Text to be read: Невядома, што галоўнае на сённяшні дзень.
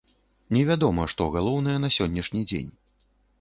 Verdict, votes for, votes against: accepted, 2, 0